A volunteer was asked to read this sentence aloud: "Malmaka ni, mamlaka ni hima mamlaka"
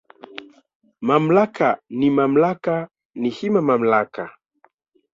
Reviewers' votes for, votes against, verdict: 0, 2, rejected